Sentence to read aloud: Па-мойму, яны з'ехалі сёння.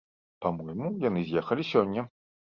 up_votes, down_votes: 2, 0